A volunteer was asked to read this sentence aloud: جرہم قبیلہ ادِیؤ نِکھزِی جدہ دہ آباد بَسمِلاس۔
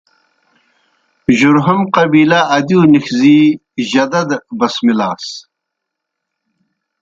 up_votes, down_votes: 1, 2